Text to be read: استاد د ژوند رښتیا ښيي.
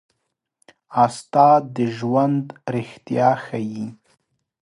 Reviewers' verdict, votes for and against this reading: rejected, 1, 2